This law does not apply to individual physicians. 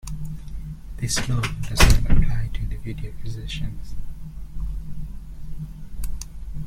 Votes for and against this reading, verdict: 0, 2, rejected